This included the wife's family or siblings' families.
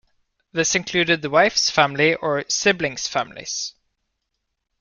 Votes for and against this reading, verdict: 2, 0, accepted